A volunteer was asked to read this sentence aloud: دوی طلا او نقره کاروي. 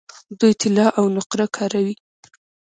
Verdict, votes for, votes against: accepted, 2, 0